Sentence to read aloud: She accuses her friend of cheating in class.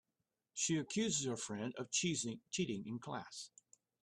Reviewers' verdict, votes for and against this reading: rejected, 1, 2